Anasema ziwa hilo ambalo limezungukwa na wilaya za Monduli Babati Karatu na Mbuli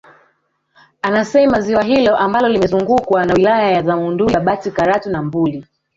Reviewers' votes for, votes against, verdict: 2, 3, rejected